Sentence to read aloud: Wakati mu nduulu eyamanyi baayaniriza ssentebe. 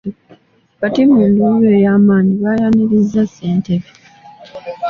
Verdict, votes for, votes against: accepted, 2, 0